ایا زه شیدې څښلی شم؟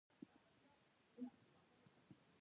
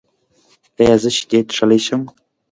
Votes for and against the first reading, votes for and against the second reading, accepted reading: 1, 2, 2, 1, second